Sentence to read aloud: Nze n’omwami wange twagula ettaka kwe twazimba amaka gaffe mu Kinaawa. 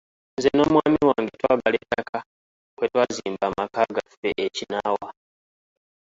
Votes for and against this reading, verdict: 1, 2, rejected